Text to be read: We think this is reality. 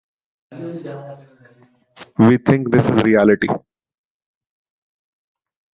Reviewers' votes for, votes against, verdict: 2, 0, accepted